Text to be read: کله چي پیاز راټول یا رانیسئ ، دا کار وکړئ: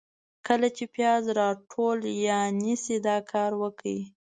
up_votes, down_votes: 2, 0